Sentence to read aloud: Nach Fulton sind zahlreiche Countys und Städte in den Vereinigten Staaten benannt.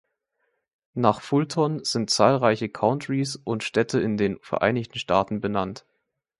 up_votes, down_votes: 1, 2